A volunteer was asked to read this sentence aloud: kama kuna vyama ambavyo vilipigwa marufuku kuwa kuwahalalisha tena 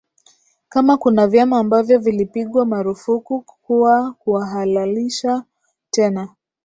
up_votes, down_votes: 0, 2